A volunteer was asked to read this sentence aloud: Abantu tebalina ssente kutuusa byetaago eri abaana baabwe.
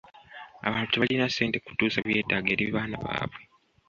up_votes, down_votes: 2, 0